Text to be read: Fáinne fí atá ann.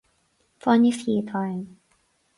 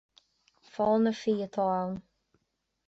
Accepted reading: first